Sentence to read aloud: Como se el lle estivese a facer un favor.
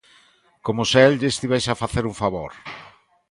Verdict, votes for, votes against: accepted, 2, 0